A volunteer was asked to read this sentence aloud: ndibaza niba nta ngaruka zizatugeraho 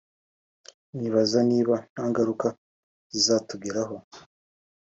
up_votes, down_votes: 3, 0